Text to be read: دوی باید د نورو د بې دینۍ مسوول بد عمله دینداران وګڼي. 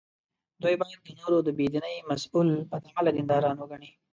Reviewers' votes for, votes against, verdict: 1, 2, rejected